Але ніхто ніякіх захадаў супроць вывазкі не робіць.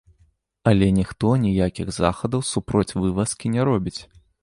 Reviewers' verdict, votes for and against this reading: accepted, 2, 0